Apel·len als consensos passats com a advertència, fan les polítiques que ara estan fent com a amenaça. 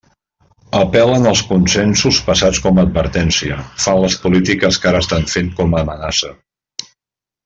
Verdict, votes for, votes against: accepted, 2, 0